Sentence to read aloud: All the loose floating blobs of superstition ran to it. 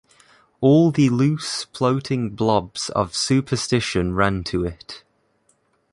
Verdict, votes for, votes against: accepted, 3, 0